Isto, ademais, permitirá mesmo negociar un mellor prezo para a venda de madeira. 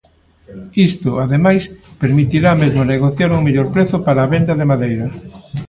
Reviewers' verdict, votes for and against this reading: rejected, 1, 2